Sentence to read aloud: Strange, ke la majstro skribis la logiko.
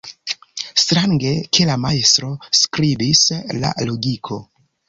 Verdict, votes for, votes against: accepted, 2, 0